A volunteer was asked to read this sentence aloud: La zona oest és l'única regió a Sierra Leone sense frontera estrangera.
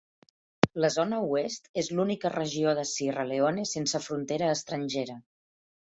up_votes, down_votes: 1, 2